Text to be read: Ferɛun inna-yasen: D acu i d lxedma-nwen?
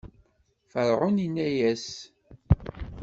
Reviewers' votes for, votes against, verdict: 1, 2, rejected